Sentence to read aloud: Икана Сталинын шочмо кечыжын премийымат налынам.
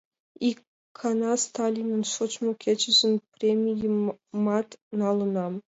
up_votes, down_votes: 2, 0